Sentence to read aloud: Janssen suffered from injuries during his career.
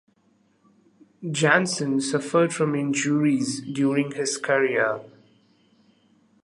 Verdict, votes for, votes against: accepted, 2, 1